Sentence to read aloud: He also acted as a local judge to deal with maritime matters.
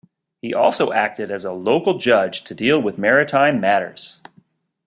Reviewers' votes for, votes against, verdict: 2, 0, accepted